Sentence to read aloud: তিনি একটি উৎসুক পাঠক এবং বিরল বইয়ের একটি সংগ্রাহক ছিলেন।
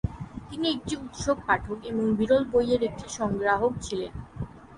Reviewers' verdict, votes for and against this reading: rejected, 3, 6